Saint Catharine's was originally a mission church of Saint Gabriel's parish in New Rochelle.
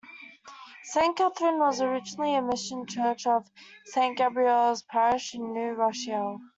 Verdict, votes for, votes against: rejected, 1, 2